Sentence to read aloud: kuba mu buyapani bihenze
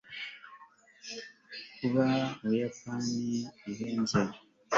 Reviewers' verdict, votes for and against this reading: accepted, 2, 0